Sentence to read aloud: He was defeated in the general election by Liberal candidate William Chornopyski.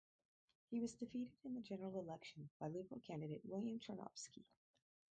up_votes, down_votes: 2, 2